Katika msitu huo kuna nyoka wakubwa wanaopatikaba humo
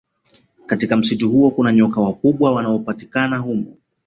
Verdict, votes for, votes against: accepted, 2, 0